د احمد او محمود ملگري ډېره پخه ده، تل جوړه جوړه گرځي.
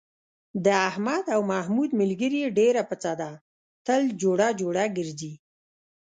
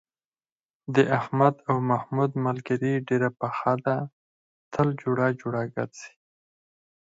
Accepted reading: second